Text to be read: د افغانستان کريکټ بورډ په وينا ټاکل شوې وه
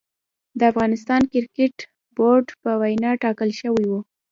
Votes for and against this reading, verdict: 1, 2, rejected